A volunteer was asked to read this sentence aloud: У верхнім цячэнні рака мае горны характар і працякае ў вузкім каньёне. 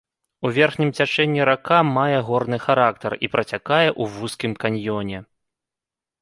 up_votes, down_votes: 3, 0